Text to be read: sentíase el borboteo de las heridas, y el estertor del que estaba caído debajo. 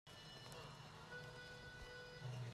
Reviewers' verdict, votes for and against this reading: rejected, 0, 2